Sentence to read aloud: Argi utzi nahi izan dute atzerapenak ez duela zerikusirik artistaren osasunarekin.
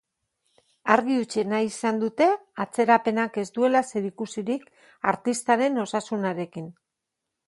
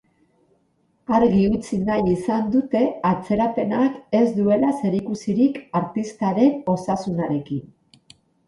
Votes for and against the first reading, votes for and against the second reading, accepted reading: 0, 2, 4, 0, second